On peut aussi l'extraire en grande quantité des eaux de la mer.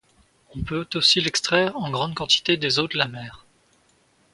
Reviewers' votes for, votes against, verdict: 2, 0, accepted